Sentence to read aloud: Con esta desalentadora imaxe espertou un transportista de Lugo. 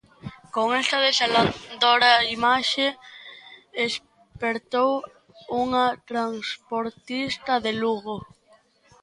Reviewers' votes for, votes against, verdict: 0, 2, rejected